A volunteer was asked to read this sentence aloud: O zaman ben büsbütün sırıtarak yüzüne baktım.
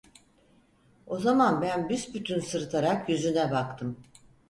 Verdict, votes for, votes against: accepted, 4, 0